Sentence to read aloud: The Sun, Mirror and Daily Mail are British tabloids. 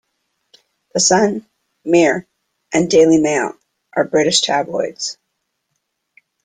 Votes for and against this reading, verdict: 2, 1, accepted